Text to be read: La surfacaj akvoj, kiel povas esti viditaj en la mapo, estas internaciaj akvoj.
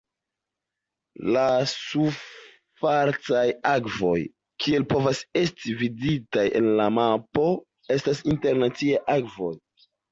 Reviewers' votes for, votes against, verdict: 1, 2, rejected